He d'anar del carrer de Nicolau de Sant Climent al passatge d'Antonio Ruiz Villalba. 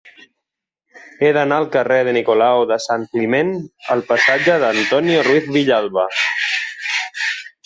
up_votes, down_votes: 0, 2